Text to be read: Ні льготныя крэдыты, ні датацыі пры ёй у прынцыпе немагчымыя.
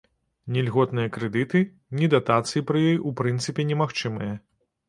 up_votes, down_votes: 2, 0